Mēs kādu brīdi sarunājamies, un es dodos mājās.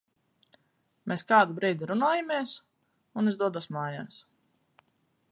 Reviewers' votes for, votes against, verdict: 0, 4, rejected